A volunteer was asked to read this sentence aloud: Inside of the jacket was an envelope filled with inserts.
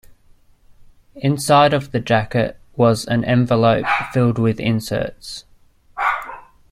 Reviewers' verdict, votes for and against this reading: accepted, 2, 0